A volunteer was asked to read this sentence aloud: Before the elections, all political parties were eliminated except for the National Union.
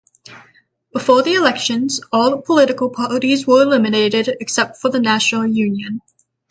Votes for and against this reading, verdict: 6, 0, accepted